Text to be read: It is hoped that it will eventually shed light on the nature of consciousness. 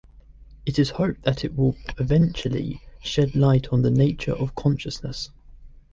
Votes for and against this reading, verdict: 2, 0, accepted